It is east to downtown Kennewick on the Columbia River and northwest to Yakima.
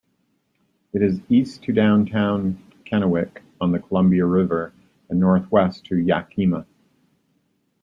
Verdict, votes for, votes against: accepted, 2, 0